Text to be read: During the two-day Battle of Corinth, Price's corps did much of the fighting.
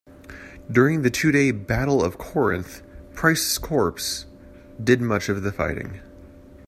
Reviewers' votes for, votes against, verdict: 1, 2, rejected